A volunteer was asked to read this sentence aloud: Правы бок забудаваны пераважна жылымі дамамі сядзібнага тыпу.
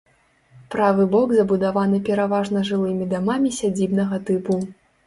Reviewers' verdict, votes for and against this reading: accepted, 2, 0